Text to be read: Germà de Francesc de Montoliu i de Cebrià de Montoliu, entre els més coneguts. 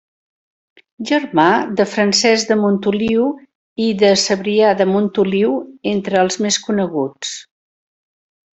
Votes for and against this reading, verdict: 2, 0, accepted